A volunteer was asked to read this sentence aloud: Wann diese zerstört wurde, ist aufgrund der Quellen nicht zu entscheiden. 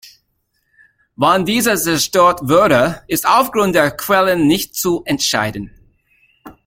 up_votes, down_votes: 1, 2